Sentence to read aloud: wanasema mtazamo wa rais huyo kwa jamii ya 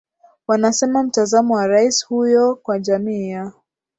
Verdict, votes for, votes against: accepted, 2, 1